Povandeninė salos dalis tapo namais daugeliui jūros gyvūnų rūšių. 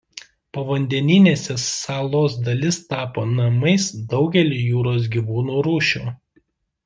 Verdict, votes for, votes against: rejected, 0, 2